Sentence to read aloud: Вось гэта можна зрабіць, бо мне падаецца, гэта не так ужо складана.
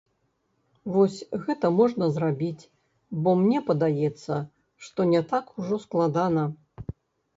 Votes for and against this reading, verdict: 0, 2, rejected